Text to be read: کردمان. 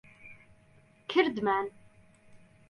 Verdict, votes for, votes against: accepted, 2, 0